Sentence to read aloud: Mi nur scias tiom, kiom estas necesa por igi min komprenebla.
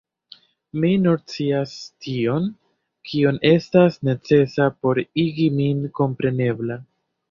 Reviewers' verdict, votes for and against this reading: rejected, 1, 2